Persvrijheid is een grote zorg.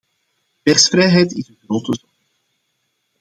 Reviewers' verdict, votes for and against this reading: rejected, 0, 2